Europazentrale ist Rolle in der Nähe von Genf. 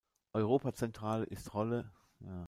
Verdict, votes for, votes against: rejected, 0, 2